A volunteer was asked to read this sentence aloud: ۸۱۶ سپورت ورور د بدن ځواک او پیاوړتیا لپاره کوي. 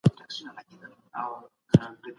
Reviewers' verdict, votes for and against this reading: rejected, 0, 2